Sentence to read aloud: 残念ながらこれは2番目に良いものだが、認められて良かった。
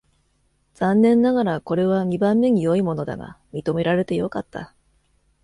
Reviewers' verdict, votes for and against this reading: rejected, 0, 2